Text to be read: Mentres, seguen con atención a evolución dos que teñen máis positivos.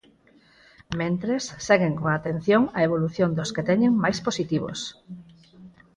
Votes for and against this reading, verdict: 0, 4, rejected